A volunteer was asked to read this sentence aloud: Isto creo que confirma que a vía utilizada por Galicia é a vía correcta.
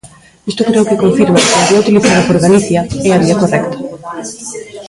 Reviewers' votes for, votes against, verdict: 0, 2, rejected